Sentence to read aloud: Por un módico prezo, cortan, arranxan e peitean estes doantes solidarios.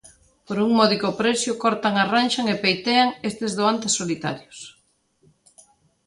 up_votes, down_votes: 2, 1